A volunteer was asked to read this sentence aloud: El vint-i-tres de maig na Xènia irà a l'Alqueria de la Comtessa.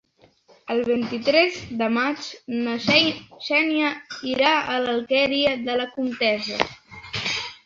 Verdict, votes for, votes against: rejected, 1, 3